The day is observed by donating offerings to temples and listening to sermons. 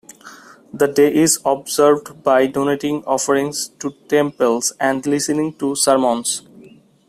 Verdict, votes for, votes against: accepted, 2, 0